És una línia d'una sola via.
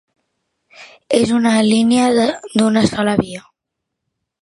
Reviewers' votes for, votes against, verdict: 0, 2, rejected